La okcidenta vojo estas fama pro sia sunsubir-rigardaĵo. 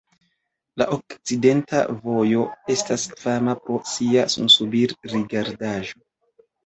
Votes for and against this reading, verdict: 2, 0, accepted